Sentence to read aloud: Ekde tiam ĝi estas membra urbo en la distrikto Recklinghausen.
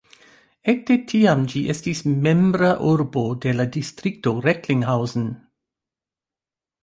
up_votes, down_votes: 0, 2